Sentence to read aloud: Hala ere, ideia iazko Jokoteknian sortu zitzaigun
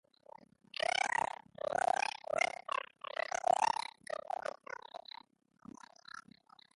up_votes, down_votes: 0, 2